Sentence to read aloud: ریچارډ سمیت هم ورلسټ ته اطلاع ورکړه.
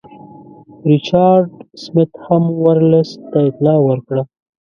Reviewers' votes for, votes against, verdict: 0, 2, rejected